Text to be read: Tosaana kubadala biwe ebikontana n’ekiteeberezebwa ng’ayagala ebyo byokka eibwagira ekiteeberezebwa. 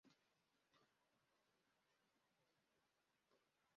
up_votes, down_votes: 0, 2